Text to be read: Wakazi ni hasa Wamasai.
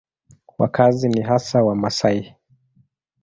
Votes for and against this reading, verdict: 2, 0, accepted